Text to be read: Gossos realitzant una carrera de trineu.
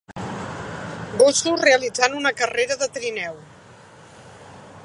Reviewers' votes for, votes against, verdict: 2, 0, accepted